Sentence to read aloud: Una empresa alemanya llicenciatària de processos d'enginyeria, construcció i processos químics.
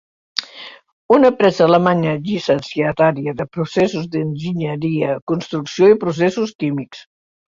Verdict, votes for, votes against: rejected, 1, 2